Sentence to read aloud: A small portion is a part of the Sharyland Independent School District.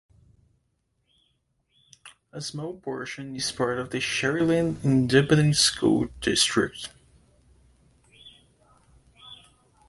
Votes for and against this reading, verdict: 0, 2, rejected